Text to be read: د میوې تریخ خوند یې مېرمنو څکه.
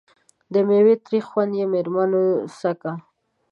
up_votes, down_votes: 0, 2